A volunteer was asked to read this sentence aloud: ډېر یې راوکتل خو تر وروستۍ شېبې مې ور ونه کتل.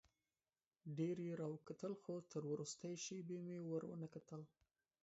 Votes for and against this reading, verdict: 1, 2, rejected